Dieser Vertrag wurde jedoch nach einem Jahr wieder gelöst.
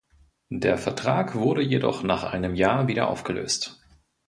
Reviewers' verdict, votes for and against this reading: rejected, 0, 2